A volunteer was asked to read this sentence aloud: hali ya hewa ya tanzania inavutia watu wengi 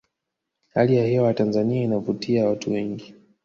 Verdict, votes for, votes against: rejected, 0, 2